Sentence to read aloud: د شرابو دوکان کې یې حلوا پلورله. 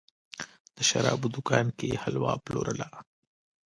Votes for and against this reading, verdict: 1, 2, rejected